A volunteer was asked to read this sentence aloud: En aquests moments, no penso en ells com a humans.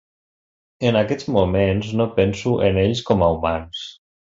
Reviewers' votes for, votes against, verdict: 3, 0, accepted